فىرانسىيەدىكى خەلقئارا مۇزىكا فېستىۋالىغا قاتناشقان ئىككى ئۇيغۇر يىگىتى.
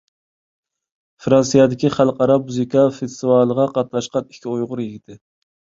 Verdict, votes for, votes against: accepted, 2, 0